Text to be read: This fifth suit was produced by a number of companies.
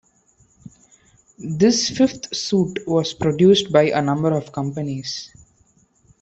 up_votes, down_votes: 2, 1